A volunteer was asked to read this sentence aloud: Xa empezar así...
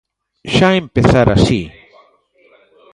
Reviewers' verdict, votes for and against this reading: rejected, 0, 2